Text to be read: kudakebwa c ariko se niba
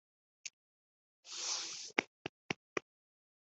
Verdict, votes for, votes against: rejected, 0, 2